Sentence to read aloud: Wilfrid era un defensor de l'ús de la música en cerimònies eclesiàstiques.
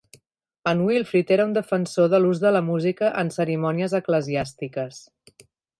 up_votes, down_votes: 1, 2